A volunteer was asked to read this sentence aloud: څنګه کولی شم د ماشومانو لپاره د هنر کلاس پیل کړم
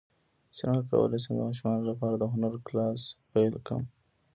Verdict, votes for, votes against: rejected, 0, 2